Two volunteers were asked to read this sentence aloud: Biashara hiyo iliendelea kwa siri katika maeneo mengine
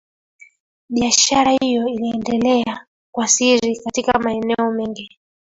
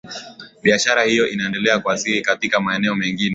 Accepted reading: second